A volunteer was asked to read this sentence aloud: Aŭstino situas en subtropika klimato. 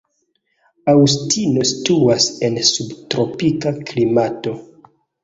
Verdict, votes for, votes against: accepted, 2, 0